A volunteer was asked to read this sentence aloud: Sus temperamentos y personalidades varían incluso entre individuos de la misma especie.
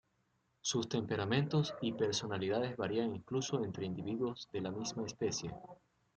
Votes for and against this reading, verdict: 2, 0, accepted